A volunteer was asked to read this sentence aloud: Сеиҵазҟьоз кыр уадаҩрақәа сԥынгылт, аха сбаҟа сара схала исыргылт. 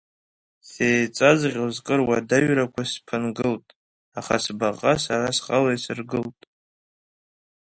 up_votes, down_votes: 0, 2